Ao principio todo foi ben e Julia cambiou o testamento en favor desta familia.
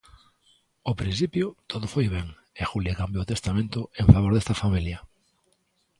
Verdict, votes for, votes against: accepted, 2, 0